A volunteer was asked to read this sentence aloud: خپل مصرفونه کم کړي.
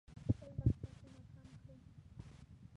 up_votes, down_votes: 0, 2